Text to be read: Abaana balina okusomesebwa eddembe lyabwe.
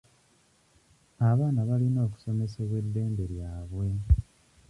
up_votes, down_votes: 1, 2